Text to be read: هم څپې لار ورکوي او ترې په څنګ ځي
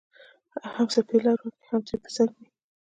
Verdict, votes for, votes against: accepted, 2, 1